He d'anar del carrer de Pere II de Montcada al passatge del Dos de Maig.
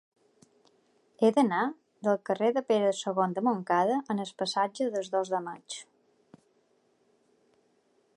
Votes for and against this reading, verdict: 1, 2, rejected